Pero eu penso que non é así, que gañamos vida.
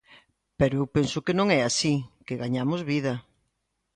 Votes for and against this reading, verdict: 2, 0, accepted